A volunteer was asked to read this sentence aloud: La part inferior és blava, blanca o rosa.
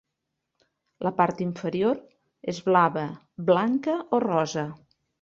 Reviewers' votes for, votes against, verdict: 3, 0, accepted